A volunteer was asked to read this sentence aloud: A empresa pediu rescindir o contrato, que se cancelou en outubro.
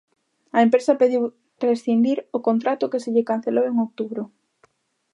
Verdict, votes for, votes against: rejected, 1, 2